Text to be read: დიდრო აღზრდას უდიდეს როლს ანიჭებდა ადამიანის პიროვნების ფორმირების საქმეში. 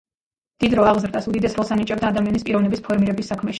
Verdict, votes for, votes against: accepted, 2, 1